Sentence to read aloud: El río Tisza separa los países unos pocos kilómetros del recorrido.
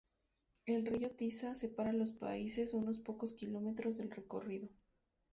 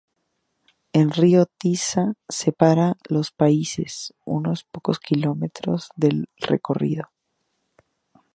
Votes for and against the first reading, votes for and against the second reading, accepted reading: 0, 2, 2, 0, second